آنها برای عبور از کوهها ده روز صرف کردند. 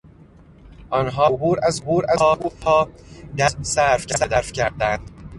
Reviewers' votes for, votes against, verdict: 0, 2, rejected